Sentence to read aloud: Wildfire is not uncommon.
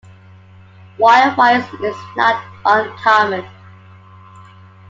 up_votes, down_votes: 2, 0